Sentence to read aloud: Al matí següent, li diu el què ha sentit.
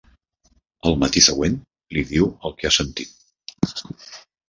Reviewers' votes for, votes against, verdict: 2, 0, accepted